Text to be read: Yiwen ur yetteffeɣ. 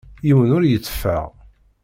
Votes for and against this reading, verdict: 2, 0, accepted